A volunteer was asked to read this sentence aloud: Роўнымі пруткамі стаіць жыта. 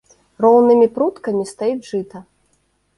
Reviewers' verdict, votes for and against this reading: rejected, 0, 2